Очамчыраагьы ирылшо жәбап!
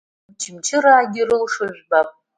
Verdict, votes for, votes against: accepted, 2, 0